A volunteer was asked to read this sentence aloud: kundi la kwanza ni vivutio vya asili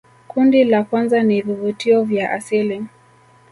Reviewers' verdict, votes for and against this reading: accepted, 2, 1